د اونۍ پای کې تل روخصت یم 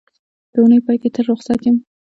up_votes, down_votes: 2, 0